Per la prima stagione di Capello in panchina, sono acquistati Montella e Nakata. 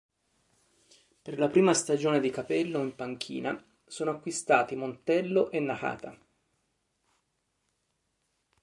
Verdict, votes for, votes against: rejected, 0, 2